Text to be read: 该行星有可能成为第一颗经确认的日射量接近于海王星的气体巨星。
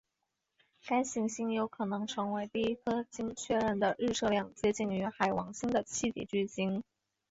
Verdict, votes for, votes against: rejected, 2, 2